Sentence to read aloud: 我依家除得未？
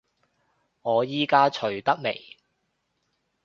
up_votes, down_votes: 2, 0